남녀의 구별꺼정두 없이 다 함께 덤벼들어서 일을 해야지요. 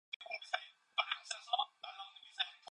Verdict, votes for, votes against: rejected, 0, 2